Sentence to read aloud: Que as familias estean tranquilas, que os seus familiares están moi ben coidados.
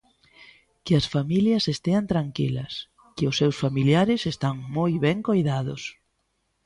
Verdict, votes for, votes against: accepted, 2, 0